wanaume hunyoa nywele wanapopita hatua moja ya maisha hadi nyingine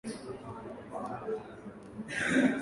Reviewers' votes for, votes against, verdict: 0, 2, rejected